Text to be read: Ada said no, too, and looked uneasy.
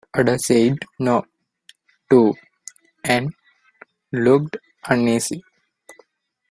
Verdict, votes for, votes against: accepted, 2, 0